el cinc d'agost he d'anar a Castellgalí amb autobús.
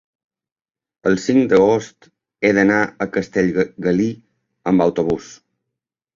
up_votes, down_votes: 0, 2